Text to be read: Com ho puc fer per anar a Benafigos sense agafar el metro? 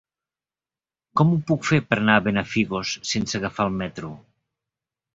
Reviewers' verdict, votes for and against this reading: accepted, 3, 1